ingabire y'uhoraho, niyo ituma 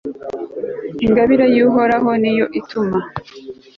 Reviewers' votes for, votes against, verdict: 2, 0, accepted